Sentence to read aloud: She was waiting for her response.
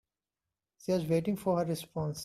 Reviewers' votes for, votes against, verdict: 2, 1, accepted